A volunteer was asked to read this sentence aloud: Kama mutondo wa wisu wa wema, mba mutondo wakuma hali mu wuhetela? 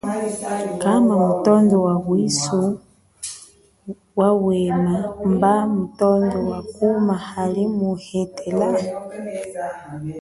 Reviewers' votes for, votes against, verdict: 0, 2, rejected